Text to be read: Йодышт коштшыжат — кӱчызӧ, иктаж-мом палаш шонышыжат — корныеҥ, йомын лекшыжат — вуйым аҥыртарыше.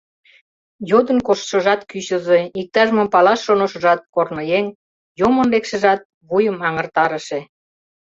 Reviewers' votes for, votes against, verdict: 0, 2, rejected